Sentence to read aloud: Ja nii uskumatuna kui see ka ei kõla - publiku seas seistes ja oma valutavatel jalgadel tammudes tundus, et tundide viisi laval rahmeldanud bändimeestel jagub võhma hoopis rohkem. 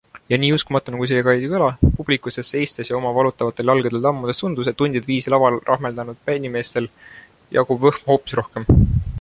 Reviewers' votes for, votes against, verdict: 2, 0, accepted